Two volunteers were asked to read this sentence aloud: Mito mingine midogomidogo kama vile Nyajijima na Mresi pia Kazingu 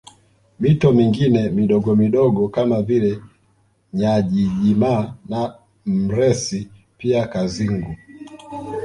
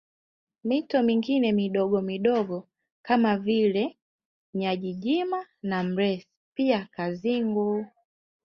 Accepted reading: second